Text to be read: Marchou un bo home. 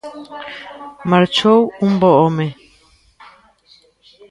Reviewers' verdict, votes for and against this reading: rejected, 1, 2